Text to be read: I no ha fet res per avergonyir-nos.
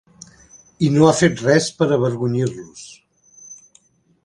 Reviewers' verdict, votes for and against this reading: rejected, 1, 2